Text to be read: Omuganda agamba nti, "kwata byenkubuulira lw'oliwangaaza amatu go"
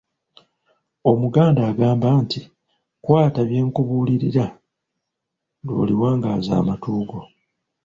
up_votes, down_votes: 1, 2